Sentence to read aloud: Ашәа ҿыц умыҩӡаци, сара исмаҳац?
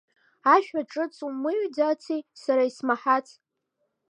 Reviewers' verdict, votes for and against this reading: accepted, 2, 1